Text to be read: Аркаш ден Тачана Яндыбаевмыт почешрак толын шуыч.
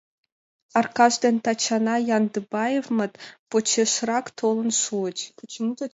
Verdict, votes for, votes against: accepted, 3, 2